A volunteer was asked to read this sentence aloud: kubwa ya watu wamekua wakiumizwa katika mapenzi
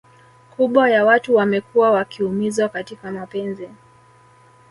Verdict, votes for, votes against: accepted, 2, 0